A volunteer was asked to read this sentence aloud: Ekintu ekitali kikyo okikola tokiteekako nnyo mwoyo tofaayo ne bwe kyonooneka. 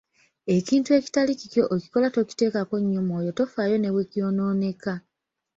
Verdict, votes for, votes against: rejected, 1, 2